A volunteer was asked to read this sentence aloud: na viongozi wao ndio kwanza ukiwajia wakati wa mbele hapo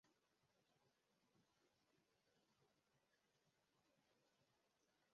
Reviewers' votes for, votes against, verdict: 0, 2, rejected